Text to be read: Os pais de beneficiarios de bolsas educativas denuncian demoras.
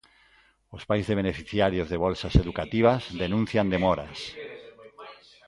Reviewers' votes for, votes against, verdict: 2, 0, accepted